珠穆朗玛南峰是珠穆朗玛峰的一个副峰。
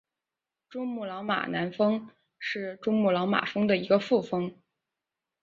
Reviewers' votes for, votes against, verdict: 3, 1, accepted